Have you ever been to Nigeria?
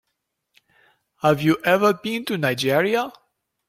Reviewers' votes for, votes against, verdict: 3, 0, accepted